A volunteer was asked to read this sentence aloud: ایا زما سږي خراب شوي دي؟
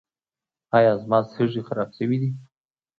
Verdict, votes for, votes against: accepted, 2, 0